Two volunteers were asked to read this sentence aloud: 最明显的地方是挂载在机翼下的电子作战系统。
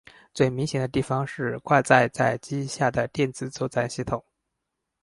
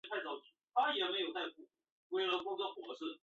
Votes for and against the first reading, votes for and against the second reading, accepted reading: 6, 0, 1, 2, first